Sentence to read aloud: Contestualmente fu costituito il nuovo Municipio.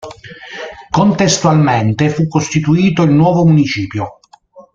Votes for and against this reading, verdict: 2, 0, accepted